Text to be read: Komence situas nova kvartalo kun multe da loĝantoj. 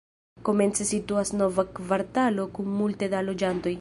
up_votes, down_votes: 0, 2